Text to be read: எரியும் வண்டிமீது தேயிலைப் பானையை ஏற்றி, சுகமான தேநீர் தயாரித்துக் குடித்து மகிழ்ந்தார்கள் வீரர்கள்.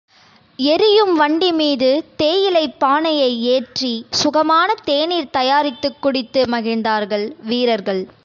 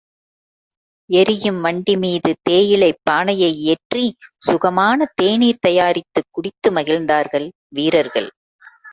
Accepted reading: first